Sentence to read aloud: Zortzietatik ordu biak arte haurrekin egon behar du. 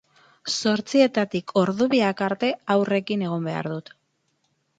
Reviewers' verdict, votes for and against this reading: accepted, 8, 0